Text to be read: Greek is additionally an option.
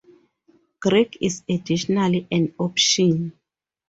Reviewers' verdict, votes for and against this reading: accepted, 4, 0